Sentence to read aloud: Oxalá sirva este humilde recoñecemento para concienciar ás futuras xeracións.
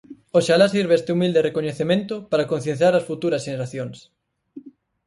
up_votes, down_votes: 2, 4